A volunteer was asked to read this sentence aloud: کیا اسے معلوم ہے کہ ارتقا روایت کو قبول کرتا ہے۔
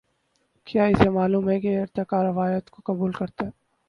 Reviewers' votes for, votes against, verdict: 0, 2, rejected